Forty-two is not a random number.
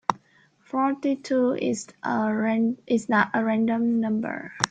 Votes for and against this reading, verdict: 0, 2, rejected